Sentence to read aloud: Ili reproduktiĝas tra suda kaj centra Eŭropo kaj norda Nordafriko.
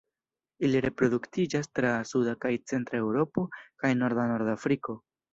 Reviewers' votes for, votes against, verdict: 2, 1, accepted